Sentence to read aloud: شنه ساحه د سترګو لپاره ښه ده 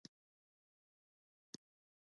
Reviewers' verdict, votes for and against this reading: rejected, 1, 2